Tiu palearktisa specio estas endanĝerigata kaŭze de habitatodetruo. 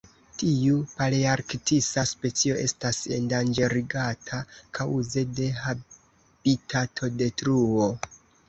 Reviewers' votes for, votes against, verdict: 2, 1, accepted